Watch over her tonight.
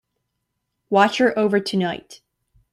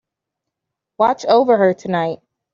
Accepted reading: second